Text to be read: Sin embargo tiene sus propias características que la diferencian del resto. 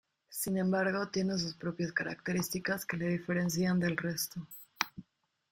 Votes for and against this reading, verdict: 0, 2, rejected